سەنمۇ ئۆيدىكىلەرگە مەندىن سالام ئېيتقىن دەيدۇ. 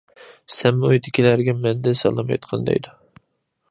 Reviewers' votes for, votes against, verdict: 2, 0, accepted